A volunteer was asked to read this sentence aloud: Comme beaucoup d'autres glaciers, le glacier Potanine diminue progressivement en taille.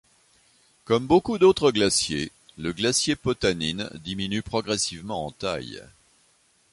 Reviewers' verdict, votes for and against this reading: accepted, 2, 0